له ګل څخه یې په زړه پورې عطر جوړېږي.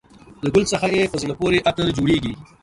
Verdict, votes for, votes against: accepted, 2, 0